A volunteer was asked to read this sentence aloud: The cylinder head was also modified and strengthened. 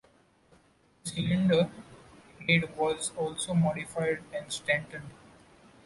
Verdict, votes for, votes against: accepted, 2, 0